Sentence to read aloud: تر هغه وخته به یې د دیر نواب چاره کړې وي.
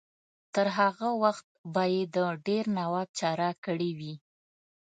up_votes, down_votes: 1, 2